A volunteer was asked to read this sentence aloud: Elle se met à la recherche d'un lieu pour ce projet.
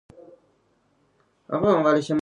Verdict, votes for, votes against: rejected, 0, 2